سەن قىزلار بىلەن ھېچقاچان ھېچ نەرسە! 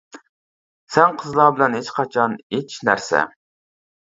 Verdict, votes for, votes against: accepted, 2, 1